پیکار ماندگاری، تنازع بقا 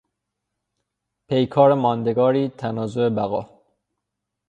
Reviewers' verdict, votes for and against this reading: rejected, 3, 3